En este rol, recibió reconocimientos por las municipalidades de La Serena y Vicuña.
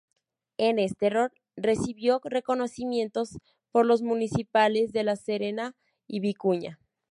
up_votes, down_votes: 2, 2